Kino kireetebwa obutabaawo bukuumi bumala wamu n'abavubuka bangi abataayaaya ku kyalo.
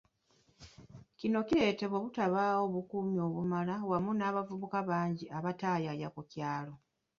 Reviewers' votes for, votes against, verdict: 2, 0, accepted